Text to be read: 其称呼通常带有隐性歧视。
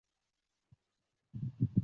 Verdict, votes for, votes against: rejected, 0, 2